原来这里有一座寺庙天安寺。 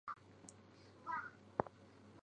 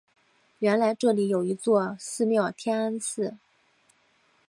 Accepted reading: second